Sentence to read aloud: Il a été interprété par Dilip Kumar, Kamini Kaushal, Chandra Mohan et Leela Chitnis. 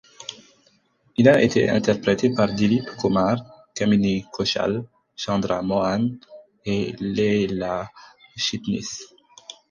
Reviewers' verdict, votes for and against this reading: accepted, 4, 0